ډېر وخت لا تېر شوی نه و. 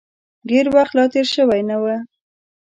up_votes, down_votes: 2, 0